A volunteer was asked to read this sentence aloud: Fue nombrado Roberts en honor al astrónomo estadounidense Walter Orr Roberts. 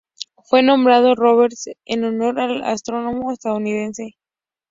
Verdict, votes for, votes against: rejected, 2, 2